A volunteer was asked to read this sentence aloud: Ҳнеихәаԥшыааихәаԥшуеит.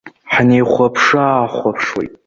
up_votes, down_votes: 1, 2